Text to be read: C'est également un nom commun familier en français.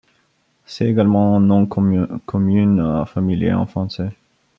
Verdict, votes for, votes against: rejected, 0, 2